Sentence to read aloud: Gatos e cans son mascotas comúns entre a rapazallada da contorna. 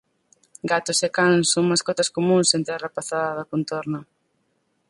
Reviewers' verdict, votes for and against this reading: rejected, 2, 4